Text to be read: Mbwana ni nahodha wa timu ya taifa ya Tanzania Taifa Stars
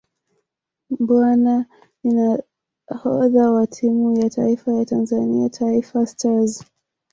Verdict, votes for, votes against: accepted, 2, 0